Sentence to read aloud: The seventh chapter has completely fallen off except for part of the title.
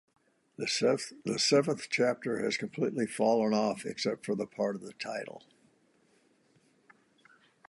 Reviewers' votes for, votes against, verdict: 0, 2, rejected